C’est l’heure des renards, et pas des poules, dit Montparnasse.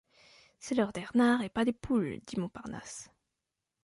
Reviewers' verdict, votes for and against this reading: rejected, 1, 2